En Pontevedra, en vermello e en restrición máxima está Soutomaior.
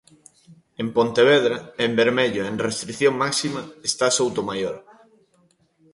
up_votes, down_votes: 2, 1